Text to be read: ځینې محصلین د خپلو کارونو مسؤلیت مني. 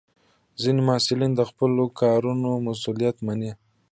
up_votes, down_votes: 2, 0